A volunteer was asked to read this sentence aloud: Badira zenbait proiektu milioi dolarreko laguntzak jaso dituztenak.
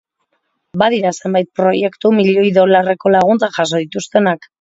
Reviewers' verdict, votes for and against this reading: accepted, 3, 0